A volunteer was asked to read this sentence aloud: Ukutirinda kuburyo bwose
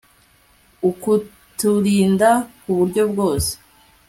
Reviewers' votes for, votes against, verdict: 2, 0, accepted